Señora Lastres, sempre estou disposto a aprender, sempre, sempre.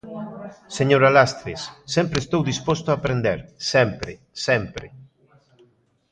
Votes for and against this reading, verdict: 2, 0, accepted